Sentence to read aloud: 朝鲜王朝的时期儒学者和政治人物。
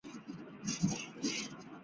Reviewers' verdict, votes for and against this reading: accepted, 4, 3